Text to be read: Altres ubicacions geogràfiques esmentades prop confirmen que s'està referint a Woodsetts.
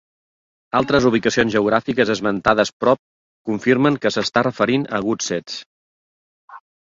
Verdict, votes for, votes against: accepted, 2, 0